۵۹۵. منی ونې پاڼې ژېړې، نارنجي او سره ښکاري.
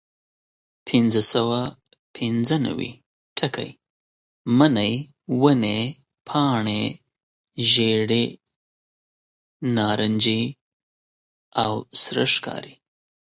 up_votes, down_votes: 0, 2